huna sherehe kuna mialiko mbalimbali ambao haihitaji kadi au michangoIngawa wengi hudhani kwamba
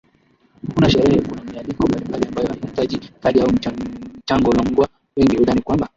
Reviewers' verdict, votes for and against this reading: rejected, 0, 2